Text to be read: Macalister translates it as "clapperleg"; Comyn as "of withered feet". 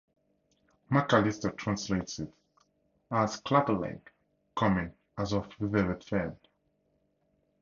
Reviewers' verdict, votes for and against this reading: rejected, 2, 2